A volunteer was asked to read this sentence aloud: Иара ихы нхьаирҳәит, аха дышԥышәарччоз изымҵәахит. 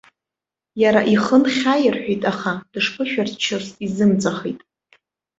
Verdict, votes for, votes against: accepted, 2, 0